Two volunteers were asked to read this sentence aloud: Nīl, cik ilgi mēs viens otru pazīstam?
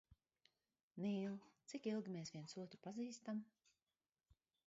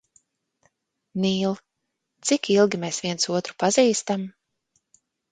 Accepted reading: second